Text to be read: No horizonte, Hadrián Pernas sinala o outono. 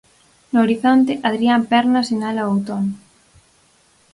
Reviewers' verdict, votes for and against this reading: accepted, 4, 0